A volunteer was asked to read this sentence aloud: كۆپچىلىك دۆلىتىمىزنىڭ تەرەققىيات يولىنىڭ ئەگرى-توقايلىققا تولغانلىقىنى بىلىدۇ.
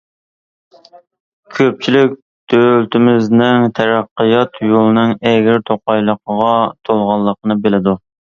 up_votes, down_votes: 1, 2